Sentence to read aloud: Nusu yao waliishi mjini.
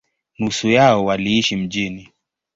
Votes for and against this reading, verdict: 3, 0, accepted